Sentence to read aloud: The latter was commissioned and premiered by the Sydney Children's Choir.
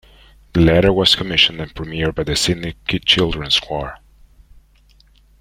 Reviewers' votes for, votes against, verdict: 0, 2, rejected